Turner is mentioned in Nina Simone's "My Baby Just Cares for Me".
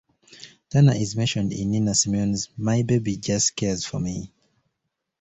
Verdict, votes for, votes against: accepted, 2, 1